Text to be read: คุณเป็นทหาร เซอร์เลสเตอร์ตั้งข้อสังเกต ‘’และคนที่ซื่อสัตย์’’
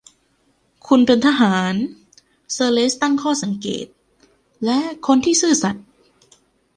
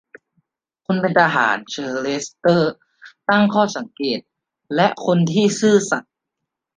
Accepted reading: second